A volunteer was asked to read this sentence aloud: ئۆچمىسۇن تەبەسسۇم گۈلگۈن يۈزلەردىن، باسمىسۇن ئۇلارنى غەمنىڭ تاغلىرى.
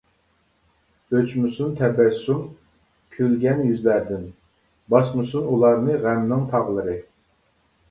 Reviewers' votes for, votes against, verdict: 0, 2, rejected